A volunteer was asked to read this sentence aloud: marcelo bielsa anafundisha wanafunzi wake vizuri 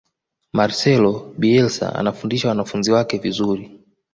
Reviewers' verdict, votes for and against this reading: accepted, 2, 0